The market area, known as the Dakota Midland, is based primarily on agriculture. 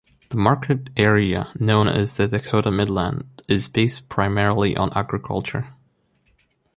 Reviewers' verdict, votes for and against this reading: rejected, 0, 2